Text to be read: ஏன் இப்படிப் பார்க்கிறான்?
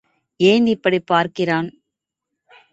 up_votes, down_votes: 3, 0